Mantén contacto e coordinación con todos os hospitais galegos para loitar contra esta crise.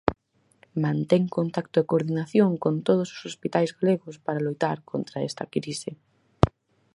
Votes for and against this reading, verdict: 6, 0, accepted